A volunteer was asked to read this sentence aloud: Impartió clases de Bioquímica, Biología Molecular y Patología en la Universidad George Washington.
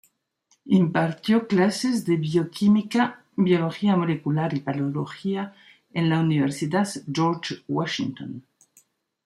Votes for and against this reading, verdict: 0, 2, rejected